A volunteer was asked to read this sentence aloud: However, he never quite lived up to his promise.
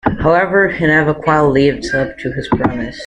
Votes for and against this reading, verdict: 0, 2, rejected